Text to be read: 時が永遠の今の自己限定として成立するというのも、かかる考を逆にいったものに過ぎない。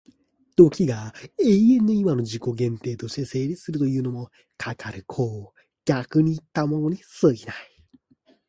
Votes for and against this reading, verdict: 2, 0, accepted